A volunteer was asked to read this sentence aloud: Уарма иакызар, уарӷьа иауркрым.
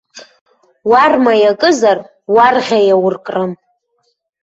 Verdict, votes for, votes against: rejected, 1, 2